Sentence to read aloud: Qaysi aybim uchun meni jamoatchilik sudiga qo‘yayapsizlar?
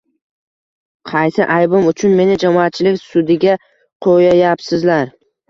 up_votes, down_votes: 2, 0